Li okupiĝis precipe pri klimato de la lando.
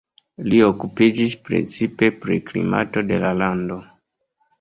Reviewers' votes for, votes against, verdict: 1, 2, rejected